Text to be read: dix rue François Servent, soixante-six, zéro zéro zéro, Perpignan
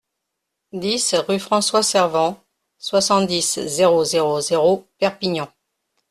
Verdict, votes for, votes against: rejected, 1, 3